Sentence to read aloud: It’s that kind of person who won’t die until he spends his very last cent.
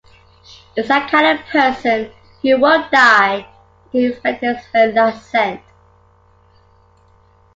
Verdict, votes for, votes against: rejected, 0, 2